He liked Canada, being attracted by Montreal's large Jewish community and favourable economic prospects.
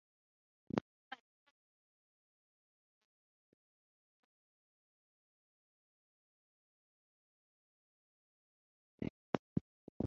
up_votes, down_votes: 0, 3